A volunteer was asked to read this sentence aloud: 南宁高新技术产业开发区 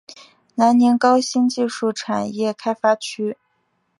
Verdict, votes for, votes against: accepted, 3, 0